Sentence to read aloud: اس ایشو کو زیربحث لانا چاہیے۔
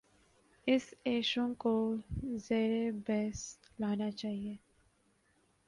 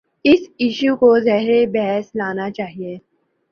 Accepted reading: second